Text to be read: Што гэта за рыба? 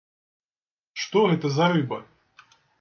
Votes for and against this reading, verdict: 2, 0, accepted